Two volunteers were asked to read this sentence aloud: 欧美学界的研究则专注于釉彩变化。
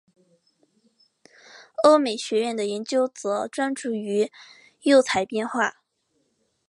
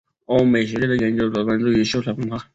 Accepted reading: first